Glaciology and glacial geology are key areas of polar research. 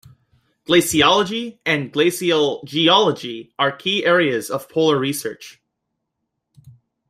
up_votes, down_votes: 2, 0